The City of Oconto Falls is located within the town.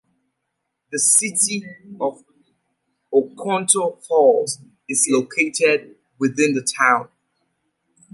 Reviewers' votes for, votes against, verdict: 2, 0, accepted